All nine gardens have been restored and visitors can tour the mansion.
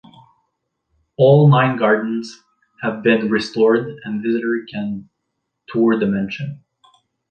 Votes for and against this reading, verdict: 2, 1, accepted